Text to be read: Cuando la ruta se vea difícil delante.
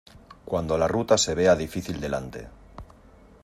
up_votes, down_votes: 2, 0